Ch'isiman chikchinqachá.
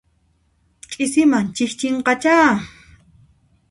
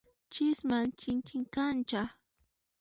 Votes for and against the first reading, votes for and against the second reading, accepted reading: 2, 0, 1, 2, first